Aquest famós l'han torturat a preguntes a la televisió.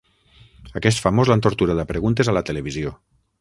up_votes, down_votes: 6, 0